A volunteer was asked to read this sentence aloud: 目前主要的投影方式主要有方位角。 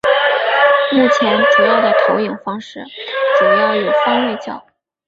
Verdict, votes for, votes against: rejected, 1, 3